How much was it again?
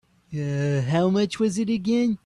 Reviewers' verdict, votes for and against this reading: rejected, 0, 2